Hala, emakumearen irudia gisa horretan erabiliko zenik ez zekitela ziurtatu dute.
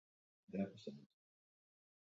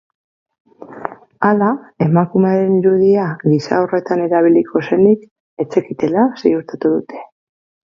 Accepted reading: second